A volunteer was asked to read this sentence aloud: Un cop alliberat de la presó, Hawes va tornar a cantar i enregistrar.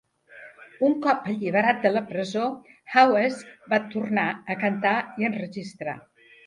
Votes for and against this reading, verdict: 1, 2, rejected